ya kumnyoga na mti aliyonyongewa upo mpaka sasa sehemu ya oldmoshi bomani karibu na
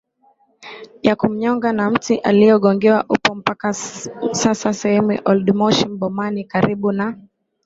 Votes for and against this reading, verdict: 0, 2, rejected